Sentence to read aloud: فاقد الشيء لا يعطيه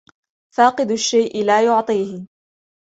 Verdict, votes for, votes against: accepted, 2, 1